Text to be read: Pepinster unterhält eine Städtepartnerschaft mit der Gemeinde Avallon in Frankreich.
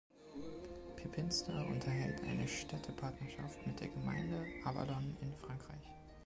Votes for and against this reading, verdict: 2, 1, accepted